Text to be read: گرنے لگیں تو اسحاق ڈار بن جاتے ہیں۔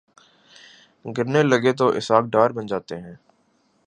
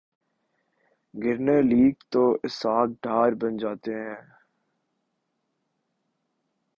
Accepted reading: first